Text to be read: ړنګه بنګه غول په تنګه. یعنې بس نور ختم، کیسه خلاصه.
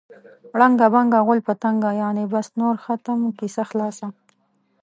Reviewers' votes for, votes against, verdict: 0, 2, rejected